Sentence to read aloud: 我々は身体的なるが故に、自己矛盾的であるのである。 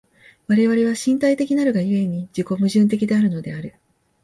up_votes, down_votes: 2, 0